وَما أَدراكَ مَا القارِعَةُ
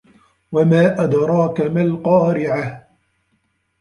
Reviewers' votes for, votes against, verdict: 1, 2, rejected